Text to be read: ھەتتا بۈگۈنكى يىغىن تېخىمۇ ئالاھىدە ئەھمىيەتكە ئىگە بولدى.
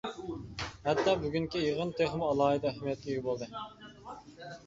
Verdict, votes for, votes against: accepted, 2, 1